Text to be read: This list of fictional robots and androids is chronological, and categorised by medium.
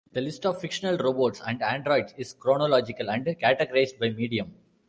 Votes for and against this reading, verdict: 1, 2, rejected